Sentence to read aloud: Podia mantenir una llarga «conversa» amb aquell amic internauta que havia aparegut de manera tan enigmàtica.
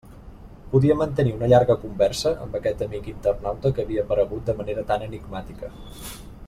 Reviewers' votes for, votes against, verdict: 1, 2, rejected